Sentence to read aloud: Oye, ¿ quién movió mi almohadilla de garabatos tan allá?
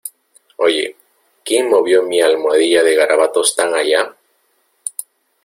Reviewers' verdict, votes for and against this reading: accepted, 2, 0